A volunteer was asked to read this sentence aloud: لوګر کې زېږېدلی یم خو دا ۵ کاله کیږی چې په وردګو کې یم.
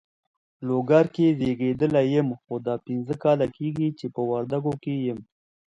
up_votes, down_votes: 0, 2